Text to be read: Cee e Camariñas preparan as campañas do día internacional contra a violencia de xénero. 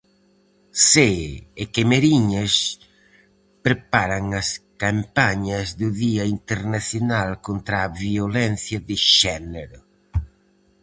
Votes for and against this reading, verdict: 0, 4, rejected